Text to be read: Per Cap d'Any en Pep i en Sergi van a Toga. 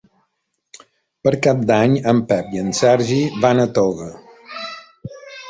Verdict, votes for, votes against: accepted, 3, 0